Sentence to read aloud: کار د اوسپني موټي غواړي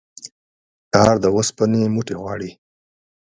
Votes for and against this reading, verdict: 12, 0, accepted